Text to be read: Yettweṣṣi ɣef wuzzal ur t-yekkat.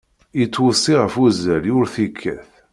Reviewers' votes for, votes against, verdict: 2, 0, accepted